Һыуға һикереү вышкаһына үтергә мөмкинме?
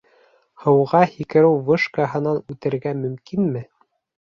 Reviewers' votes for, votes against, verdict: 2, 0, accepted